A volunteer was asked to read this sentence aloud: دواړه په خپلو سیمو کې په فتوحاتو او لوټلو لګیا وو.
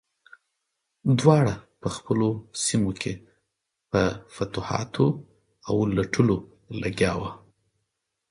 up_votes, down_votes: 2, 4